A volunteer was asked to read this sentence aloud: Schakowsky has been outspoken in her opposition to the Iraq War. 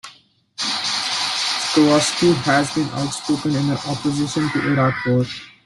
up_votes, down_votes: 0, 2